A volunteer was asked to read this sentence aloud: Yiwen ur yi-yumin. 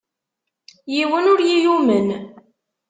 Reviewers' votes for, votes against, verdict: 1, 2, rejected